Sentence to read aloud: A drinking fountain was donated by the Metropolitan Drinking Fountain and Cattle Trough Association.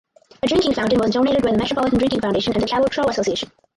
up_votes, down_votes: 0, 4